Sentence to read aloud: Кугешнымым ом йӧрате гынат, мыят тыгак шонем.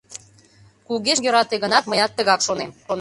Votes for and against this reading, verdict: 0, 2, rejected